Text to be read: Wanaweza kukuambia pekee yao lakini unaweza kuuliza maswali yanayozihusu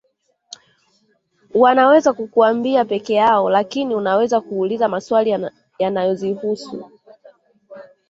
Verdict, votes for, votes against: rejected, 1, 2